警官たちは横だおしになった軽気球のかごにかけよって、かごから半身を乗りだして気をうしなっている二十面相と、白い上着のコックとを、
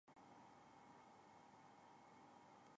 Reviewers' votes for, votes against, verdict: 0, 2, rejected